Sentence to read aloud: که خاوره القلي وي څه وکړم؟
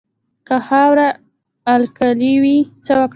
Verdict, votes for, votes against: accepted, 2, 0